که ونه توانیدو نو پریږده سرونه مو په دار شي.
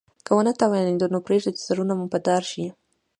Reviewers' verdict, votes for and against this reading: accepted, 2, 0